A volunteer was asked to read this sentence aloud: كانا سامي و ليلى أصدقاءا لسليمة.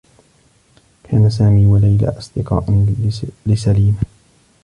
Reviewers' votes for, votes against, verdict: 1, 2, rejected